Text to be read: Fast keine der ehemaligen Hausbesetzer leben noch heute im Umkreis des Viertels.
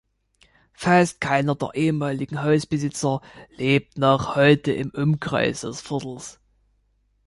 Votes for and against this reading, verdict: 1, 3, rejected